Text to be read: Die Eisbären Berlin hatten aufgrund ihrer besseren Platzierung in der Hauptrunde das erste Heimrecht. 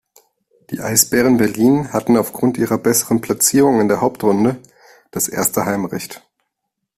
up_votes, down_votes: 2, 0